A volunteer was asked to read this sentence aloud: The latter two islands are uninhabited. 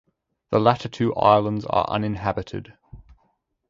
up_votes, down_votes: 2, 2